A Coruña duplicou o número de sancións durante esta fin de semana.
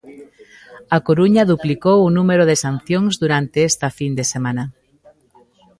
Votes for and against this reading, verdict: 2, 1, accepted